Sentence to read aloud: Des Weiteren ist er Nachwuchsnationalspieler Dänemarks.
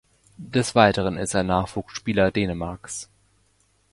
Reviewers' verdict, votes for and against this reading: rejected, 1, 2